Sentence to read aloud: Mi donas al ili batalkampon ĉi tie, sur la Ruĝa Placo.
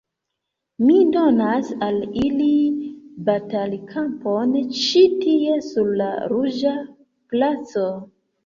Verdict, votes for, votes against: accepted, 2, 1